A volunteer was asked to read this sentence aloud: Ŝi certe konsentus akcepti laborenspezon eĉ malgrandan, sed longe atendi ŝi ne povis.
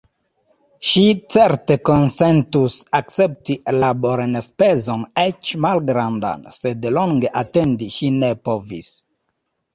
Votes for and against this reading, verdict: 0, 2, rejected